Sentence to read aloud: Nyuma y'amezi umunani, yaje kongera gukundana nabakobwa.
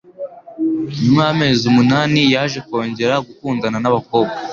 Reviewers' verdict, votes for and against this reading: accepted, 2, 0